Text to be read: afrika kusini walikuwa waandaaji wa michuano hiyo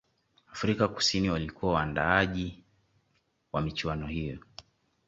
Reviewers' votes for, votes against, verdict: 2, 0, accepted